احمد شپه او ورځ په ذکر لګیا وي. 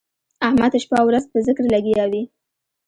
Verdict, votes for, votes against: accepted, 2, 0